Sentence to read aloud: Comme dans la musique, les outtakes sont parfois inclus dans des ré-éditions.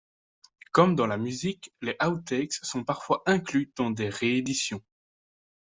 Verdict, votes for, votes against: accepted, 3, 0